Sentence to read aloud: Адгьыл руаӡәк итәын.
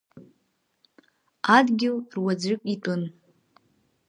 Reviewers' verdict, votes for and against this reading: rejected, 0, 3